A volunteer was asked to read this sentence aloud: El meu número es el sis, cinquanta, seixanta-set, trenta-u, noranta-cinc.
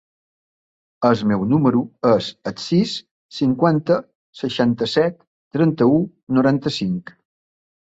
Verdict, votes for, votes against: rejected, 0, 2